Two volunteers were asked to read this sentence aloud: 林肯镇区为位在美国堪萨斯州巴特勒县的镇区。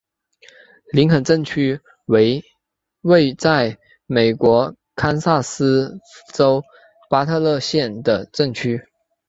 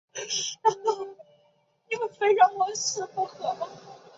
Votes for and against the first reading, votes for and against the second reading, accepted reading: 3, 1, 0, 2, first